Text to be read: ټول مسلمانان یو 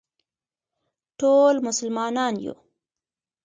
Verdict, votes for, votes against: accepted, 2, 1